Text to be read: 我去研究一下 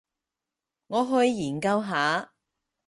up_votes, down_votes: 0, 6